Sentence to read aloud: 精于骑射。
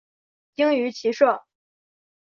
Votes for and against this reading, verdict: 2, 0, accepted